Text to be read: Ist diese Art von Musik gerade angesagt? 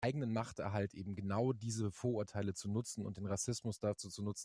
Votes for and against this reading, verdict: 0, 2, rejected